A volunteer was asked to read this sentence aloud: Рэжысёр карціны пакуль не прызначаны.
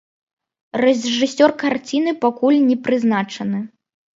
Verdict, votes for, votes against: rejected, 1, 2